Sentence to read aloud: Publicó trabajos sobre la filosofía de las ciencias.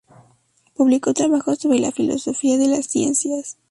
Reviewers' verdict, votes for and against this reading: accepted, 2, 0